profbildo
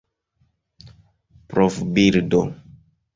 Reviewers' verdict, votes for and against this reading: rejected, 1, 2